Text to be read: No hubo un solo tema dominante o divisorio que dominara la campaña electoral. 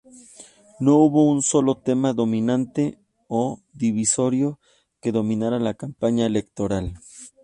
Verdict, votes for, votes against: accepted, 2, 0